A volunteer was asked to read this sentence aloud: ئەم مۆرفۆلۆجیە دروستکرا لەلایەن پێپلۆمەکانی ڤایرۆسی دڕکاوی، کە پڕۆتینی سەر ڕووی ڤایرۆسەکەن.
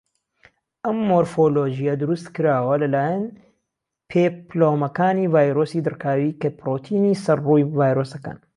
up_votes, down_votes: 1, 2